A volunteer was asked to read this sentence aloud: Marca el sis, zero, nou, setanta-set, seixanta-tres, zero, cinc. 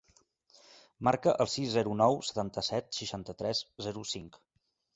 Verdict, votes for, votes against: accepted, 2, 0